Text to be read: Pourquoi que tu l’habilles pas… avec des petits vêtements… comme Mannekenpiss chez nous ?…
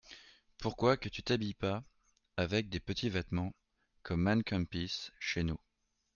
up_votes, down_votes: 0, 2